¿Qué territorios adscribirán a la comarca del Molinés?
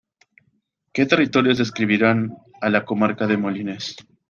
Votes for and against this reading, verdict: 1, 2, rejected